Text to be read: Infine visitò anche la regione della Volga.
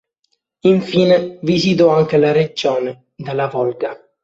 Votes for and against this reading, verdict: 2, 1, accepted